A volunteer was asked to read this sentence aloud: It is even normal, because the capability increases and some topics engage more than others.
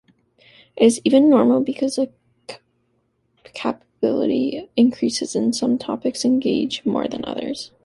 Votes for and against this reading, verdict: 0, 2, rejected